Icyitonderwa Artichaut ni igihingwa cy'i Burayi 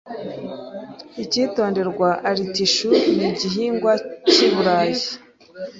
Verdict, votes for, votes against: accepted, 2, 0